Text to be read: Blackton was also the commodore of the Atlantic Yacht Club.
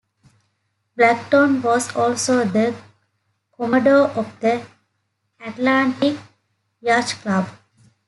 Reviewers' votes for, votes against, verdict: 1, 2, rejected